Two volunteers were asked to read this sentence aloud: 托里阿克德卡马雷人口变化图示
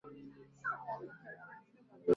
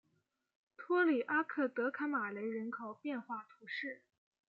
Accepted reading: second